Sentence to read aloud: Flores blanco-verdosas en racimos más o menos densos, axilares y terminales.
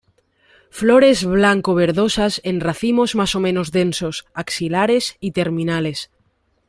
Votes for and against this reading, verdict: 2, 0, accepted